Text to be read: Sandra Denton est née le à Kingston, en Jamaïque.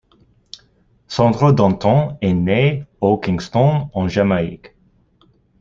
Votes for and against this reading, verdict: 1, 2, rejected